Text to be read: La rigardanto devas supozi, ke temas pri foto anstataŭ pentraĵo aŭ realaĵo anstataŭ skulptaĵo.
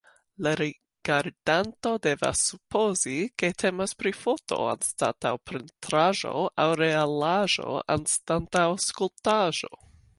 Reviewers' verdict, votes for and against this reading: rejected, 0, 3